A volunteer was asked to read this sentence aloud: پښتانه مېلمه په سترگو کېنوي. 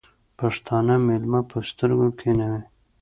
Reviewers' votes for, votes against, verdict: 2, 0, accepted